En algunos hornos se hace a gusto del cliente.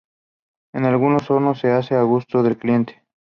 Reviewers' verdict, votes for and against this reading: accepted, 2, 0